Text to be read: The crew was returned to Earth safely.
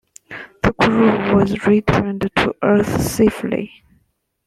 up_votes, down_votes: 1, 2